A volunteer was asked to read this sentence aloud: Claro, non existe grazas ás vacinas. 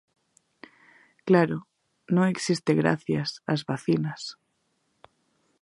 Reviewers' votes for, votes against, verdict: 1, 2, rejected